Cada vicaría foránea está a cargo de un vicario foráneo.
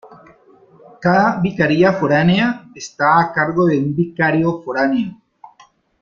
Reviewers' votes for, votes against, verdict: 0, 2, rejected